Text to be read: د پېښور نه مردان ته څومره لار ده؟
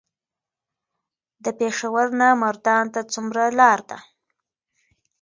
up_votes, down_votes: 2, 0